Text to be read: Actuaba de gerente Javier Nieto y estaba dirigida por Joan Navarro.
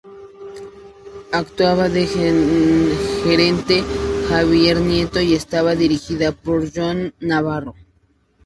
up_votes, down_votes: 0, 2